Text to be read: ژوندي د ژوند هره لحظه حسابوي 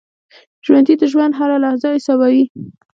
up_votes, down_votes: 2, 1